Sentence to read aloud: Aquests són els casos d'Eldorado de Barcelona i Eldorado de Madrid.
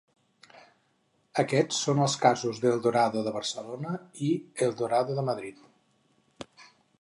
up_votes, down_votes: 4, 0